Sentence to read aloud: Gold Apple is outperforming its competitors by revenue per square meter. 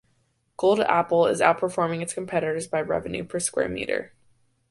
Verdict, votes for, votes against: accepted, 5, 1